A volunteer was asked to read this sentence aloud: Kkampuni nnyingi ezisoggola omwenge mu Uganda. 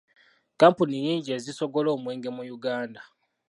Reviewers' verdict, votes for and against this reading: accepted, 2, 0